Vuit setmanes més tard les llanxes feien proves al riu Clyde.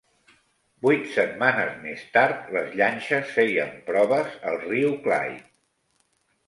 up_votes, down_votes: 2, 0